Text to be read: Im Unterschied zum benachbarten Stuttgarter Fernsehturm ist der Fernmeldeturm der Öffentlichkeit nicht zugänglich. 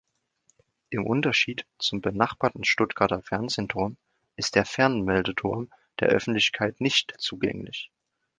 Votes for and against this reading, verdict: 2, 0, accepted